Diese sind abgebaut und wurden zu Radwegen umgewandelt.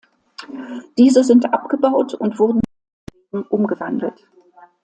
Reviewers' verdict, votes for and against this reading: rejected, 0, 2